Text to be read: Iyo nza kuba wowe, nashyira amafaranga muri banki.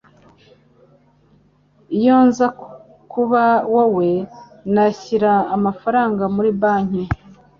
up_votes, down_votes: 2, 0